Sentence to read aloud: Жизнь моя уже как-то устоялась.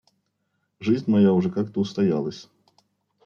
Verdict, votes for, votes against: accepted, 2, 0